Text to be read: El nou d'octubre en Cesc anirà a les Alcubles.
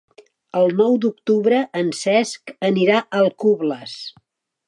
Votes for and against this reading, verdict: 1, 2, rejected